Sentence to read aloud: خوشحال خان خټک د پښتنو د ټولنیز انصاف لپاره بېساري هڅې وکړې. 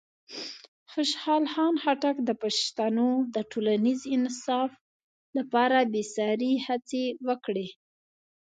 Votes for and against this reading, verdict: 2, 0, accepted